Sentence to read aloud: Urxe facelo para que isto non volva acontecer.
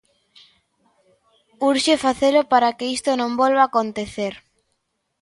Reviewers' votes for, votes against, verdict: 2, 0, accepted